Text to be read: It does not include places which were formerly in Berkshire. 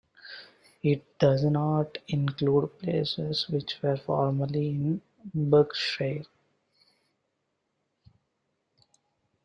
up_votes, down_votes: 1, 2